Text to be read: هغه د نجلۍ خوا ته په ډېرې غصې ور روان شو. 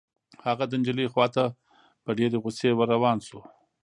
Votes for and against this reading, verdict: 2, 0, accepted